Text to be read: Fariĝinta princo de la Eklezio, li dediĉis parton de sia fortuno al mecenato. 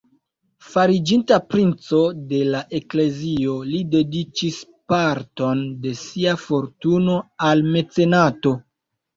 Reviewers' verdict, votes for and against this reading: accepted, 2, 0